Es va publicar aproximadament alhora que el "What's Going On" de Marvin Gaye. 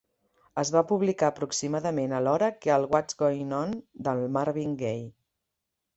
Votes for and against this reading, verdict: 1, 2, rejected